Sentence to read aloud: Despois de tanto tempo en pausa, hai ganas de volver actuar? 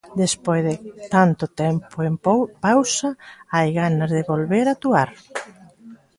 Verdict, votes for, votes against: rejected, 0, 2